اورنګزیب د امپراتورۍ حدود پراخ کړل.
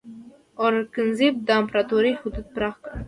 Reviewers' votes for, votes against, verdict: 2, 1, accepted